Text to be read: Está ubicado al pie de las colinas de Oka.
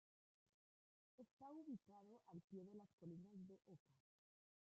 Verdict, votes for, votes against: rejected, 0, 2